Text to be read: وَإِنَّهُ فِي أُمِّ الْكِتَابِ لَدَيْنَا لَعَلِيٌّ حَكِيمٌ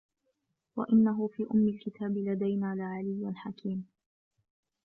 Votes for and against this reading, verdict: 0, 2, rejected